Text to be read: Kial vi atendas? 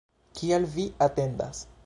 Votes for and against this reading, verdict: 2, 0, accepted